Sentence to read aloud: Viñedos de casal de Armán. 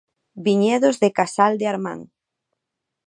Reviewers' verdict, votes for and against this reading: accepted, 2, 0